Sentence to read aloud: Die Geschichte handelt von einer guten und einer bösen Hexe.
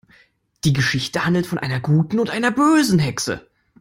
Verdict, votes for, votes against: accepted, 2, 0